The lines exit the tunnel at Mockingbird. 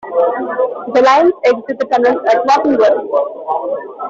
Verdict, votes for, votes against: rejected, 0, 2